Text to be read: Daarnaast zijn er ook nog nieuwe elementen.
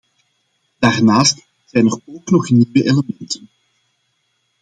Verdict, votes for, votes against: rejected, 1, 2